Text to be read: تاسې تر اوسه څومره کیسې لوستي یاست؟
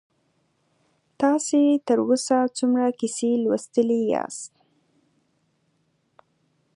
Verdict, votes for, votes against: accepted, 2, 0